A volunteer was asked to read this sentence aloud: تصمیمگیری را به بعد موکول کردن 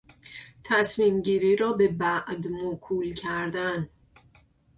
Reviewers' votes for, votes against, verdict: 2, 0, accepted